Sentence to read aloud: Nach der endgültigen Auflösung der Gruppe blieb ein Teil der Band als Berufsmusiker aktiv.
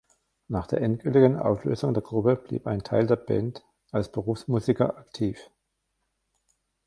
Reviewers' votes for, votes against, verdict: 1, 2, rejected